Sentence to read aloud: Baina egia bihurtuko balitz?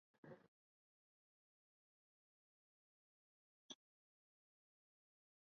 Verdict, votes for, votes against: rejected, 0, 3